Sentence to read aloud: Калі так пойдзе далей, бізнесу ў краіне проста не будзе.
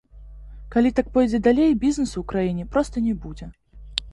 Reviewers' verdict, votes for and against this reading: accepted, 2, 0